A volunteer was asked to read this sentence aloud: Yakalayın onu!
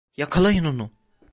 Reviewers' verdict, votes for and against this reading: accepted, 2, 0